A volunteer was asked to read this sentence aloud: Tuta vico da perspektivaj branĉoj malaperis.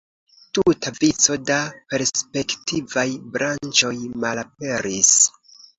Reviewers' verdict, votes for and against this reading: accepted, 2, 1